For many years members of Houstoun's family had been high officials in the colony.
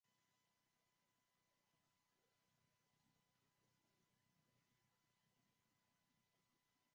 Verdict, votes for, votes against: rejected, 0, 2